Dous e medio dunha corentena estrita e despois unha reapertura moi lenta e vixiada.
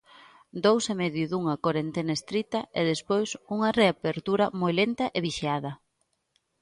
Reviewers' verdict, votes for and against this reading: accepted, 2, 0